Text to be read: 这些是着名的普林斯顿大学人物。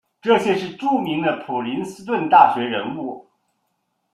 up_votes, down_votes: 2, 0